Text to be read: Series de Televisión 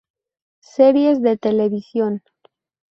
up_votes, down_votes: 4, 0